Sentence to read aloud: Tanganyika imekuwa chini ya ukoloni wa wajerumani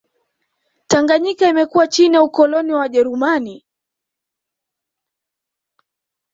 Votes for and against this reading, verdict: 2, 0, accepted